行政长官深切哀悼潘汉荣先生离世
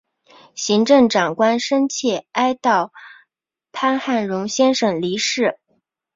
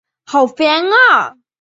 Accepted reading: first